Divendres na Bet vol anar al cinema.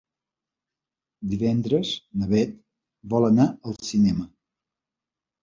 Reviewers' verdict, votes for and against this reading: accepted, 2, 0